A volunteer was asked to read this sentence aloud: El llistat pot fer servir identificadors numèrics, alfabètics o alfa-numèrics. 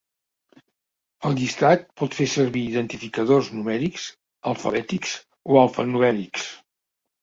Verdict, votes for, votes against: accepted, 2, 0